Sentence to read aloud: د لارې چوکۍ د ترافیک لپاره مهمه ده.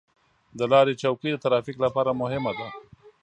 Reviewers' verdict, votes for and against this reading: accepted, 2, 0